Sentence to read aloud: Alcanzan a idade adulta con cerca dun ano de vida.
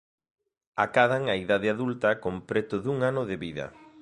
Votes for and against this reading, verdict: 1, 2, rejected